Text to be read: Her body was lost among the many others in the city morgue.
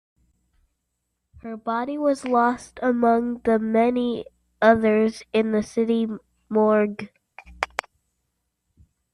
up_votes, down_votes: 2, 0